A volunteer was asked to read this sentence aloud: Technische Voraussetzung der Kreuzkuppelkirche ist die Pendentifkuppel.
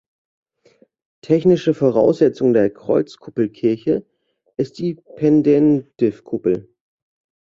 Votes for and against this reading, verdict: 1, 2, rejected